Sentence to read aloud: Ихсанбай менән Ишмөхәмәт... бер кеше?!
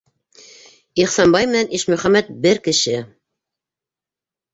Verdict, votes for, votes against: accepted, 2, 0